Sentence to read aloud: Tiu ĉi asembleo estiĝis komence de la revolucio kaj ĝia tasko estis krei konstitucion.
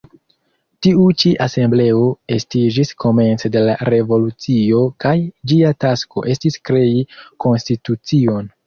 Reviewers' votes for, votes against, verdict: 2, 0, accepted